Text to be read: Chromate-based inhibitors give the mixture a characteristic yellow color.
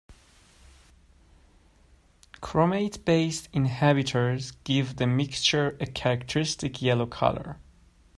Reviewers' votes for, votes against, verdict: 1, 2, rejected